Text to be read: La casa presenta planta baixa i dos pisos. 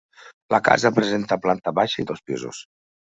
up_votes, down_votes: 3, 0